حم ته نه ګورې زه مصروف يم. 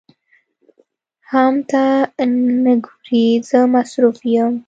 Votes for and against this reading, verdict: 2, 0, accepted